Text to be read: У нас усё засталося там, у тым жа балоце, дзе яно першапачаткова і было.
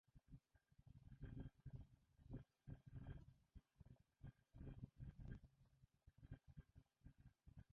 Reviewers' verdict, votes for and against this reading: rejected, 2, 3